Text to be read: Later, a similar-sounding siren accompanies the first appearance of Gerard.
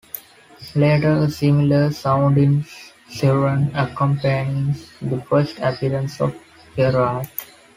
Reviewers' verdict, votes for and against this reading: rejected, 0, 2